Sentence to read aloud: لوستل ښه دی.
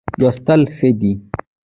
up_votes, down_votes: 1, 2